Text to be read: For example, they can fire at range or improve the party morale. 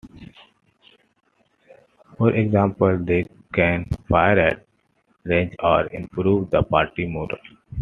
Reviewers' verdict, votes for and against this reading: rejected, 1, 2